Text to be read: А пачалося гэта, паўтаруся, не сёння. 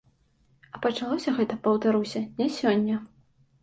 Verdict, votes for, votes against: accepted, 2, 0